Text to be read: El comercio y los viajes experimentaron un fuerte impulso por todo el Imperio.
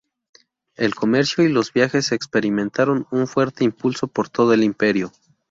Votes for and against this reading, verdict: 4, 0, accepted